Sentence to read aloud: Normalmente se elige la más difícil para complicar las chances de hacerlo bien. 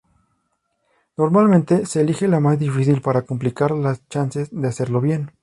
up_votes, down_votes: 2, 0